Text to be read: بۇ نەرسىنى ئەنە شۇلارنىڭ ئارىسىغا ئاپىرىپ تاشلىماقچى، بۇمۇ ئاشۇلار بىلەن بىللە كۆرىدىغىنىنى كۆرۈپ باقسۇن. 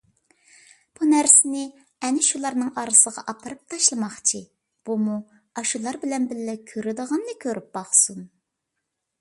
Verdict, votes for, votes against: accepted, 2, 0